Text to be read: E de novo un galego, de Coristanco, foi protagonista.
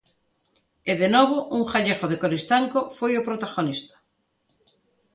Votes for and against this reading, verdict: 2, 0, accepted